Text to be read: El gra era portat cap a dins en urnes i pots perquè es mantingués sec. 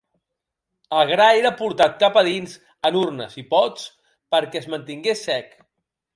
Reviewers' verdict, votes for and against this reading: accepted, 2, 0